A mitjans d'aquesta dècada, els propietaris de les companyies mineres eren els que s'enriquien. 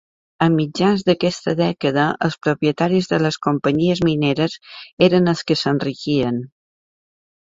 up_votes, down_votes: 2, 0